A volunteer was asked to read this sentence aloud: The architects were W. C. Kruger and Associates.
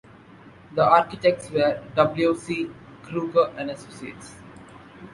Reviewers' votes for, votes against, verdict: 2, 0, accepted